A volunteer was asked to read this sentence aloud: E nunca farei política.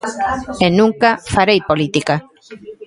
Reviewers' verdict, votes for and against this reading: accepted, 2, 0